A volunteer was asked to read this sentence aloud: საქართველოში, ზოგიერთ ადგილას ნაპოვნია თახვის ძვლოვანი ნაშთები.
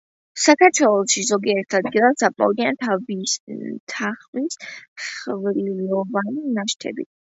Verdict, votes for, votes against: rejected, 1, 2